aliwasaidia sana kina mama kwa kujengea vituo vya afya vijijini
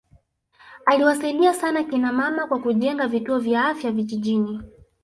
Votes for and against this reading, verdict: 2, 0, accepted